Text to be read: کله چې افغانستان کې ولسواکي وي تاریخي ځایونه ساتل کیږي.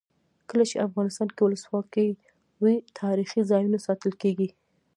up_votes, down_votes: 0, 2